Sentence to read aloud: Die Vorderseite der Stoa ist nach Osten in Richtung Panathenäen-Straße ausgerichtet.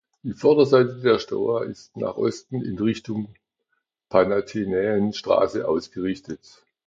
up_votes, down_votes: 1, 2